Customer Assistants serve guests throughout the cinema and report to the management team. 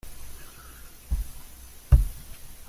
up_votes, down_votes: 0, 2